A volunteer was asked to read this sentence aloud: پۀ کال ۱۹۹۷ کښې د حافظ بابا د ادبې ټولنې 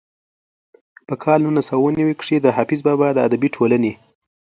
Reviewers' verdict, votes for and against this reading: rejected, 0, 2